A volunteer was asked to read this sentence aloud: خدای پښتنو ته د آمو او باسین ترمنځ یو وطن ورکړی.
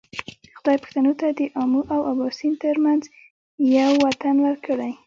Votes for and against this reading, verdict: 1, 2, rejected